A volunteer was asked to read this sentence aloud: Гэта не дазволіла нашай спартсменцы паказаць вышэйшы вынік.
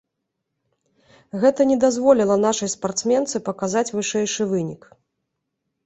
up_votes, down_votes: 3, 0